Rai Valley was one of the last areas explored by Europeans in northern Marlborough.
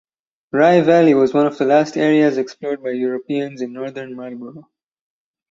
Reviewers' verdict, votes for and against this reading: rejected, 2, 2